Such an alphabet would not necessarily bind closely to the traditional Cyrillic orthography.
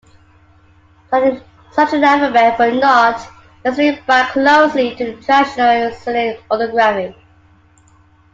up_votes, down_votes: 1, 2